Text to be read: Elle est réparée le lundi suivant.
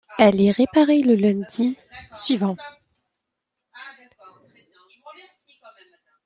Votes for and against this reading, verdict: 2, 1, accepted